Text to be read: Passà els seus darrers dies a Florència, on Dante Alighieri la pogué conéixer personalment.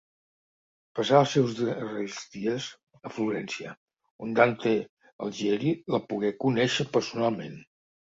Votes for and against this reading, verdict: 0, 2, rejected